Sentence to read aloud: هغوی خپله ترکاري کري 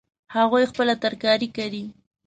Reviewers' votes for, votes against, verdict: 2, 0, accepted